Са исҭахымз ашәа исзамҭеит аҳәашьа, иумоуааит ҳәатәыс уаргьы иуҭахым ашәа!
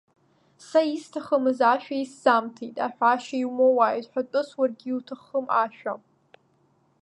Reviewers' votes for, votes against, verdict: 0, 2, rejected